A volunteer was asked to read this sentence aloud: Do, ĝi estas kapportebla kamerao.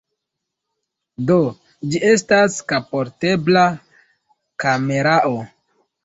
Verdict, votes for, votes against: accepted, 2, 0